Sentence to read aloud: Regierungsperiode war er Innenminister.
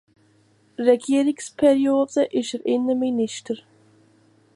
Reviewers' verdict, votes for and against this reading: rejected, 1, 2